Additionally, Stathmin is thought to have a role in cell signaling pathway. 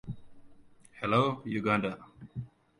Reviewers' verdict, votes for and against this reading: rejected, 0, 2